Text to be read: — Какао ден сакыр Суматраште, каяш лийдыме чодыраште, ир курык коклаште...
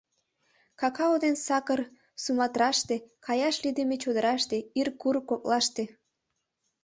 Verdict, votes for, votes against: accepted, 2, 0